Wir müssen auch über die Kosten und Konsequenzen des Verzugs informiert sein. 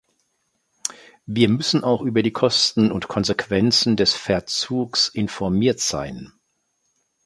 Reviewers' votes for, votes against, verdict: 3, 0, accepted